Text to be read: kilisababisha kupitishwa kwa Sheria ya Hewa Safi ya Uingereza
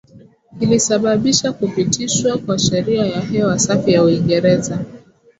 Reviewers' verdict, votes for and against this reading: accepted, 5, 0